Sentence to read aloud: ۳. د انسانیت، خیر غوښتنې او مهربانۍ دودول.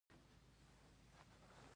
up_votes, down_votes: 0, 2